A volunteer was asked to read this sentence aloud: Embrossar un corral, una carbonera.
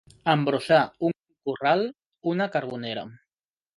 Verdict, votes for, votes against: accepted, 3, 0